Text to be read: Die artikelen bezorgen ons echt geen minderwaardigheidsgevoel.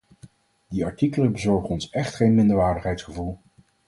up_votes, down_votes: 4, 0